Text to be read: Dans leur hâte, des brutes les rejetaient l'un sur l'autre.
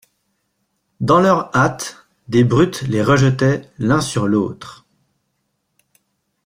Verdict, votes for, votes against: accepted, 2, 0